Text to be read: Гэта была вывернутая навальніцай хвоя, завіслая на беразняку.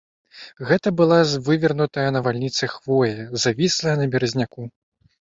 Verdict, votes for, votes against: rejected, 1, 2